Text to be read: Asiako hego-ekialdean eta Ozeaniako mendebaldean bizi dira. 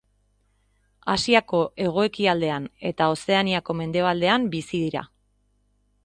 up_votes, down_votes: 2, 0